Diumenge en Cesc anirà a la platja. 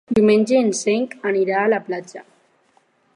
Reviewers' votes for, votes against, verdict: 0, 4, rejected